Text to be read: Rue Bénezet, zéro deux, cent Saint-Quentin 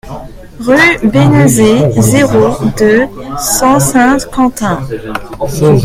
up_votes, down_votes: 1, 2